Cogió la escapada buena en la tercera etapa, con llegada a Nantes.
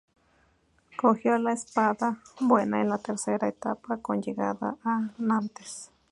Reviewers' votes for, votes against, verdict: 2, 2, rejected